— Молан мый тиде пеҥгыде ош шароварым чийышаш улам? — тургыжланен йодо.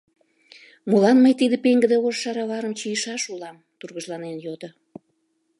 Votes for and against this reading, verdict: 2, 0, accepted